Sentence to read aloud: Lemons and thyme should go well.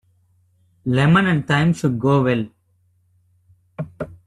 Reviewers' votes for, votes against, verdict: 1, 2, rejected